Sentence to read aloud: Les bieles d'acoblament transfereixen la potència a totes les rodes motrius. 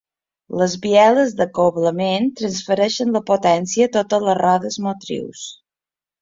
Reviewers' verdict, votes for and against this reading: accepted, 3, 0